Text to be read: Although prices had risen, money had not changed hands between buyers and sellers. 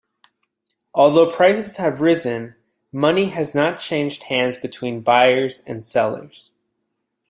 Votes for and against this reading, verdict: 2, 3, rejected